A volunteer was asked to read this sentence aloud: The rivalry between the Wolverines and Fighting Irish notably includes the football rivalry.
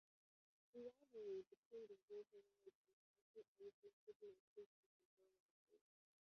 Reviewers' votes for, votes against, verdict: 0, 3, rejected